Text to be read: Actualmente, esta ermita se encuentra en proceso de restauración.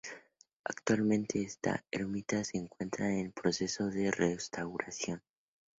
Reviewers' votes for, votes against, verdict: 4, 0, accepted